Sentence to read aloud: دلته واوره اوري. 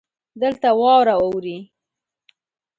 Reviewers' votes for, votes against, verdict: 2, 0, accepted